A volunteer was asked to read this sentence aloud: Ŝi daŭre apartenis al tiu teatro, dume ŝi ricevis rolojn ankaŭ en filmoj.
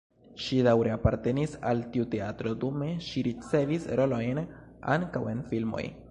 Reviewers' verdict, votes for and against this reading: accepted, 2, 0